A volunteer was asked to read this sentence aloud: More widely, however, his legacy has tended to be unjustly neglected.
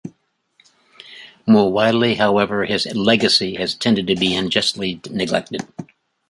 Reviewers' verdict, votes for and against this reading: accepted, 2, 1